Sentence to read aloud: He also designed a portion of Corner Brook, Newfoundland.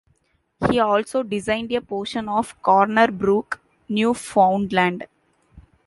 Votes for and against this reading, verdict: 2, 0, accepted